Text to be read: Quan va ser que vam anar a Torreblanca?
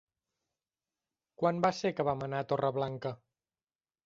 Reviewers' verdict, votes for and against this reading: accepted, 3, 0